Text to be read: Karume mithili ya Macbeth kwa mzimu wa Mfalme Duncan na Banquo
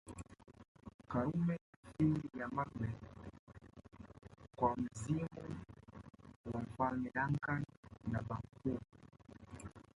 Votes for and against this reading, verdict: 0, 2, rejected